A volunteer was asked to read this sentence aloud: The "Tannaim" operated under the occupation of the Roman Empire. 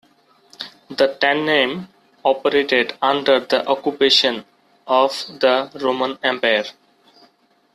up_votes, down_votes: 2, 1